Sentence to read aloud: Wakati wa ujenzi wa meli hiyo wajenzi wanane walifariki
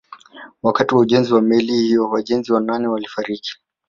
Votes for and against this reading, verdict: 4, 0, accepted